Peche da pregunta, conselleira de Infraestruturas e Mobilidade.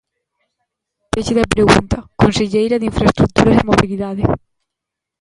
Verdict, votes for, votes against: rejected, 0, 2